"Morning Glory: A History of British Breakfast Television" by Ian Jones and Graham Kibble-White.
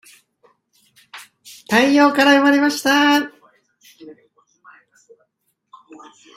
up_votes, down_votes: 0, 2